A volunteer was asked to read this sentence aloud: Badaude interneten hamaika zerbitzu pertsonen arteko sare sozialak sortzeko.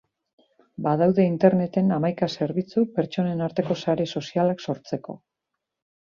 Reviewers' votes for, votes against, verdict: 2, 0, accepted